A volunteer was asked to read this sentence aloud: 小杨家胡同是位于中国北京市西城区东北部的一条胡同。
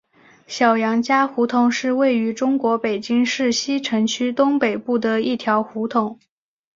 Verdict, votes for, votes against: accepted, 6, 0